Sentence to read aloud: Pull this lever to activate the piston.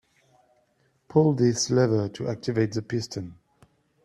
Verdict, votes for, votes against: accepted, 2, 0